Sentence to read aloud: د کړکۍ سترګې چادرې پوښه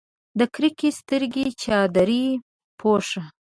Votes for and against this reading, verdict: 0, 2, rejected